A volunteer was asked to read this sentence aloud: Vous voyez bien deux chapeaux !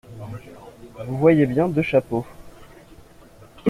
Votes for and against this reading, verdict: 2, 0, accepted